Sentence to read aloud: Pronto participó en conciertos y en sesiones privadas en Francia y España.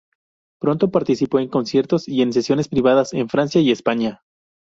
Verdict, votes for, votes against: accepted, 2, 0